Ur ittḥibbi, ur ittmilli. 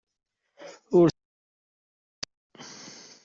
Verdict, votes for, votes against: rejected, 0, 2